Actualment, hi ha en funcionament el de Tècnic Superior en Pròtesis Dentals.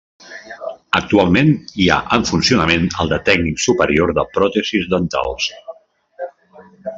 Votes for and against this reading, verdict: 0, 2, rejected